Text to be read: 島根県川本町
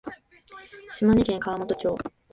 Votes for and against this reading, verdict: 2, 0, accepted